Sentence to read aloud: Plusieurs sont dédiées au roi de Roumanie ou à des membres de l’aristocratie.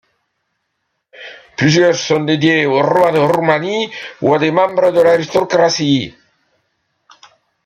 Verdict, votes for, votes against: rejected, 1, 2